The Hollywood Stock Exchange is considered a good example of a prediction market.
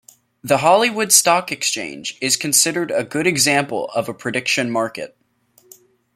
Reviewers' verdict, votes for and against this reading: accepted, 2, 0